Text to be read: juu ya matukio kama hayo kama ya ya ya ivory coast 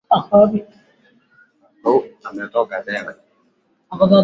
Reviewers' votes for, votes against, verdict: 0, 2, rejected